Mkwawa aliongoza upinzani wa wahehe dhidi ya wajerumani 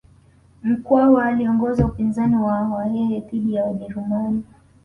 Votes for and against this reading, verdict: 2, 0, accepted